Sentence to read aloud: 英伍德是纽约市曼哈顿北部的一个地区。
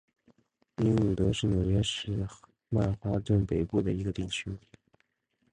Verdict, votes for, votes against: rejected, 1, 2